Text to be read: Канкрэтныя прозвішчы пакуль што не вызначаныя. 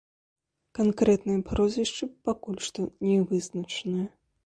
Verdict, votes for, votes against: accepted, 2, 0